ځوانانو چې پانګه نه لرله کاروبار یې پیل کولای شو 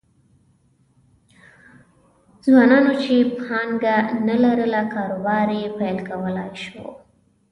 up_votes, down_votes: 1, 2